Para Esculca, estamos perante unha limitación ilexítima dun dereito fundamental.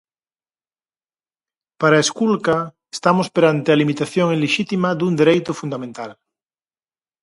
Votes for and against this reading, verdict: 0, 4, rejected